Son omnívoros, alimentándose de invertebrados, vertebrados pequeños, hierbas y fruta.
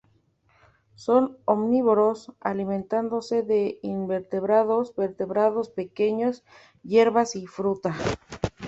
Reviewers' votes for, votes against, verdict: 2, 0, accepted